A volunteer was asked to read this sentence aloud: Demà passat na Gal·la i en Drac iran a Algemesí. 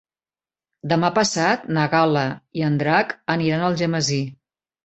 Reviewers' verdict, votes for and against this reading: rejected, 1, 2